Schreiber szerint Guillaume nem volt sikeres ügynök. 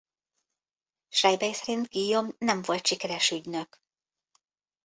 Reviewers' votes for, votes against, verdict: 1, 2, rejected